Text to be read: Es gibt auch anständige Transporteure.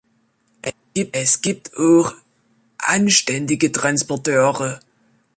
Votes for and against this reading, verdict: 1, 4, rejected